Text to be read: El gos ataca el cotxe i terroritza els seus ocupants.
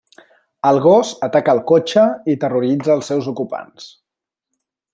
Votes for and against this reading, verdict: 4, 0, accepted